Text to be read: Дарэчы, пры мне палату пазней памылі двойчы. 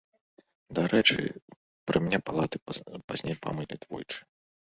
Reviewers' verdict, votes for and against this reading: rejected, 0, 2